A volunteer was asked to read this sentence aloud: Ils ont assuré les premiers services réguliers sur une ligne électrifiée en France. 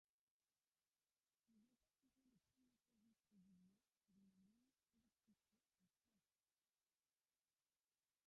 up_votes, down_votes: 0, 2